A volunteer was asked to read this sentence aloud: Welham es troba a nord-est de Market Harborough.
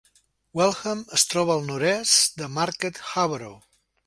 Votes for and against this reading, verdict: 1, 2, rejected